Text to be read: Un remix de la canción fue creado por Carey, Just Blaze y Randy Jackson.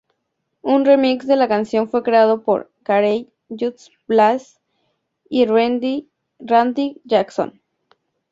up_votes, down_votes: 0, 2